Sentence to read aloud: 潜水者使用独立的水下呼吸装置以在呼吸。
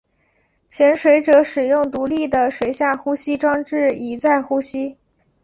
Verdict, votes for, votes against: accepted, 3, 0